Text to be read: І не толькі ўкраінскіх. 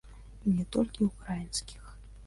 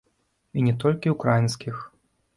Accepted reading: second